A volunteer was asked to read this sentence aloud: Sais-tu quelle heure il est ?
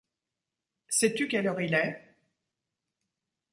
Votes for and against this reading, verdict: 2, 0, accepted